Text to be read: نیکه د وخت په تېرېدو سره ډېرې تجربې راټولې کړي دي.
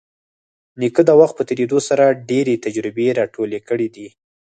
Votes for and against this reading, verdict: 4, 0, accepted